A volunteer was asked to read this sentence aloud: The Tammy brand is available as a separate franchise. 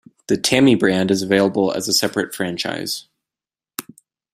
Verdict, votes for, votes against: accepted, 2, 0